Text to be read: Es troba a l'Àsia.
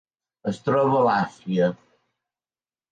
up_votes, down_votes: 1, 2